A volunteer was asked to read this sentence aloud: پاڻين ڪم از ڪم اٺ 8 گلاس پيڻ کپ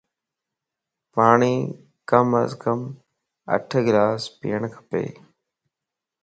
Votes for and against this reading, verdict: 0, 2, rejected